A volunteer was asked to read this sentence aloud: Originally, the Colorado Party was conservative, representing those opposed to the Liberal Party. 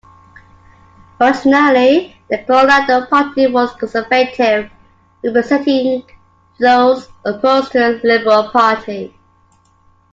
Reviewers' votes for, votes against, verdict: 1, 3, rejected